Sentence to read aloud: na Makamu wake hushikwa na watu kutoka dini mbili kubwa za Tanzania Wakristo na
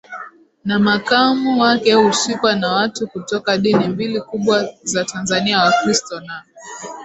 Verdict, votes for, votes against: rejected, 1, 2